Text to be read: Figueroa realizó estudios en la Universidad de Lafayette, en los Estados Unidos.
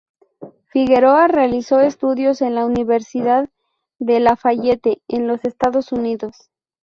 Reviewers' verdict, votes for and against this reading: accepted, 2, 0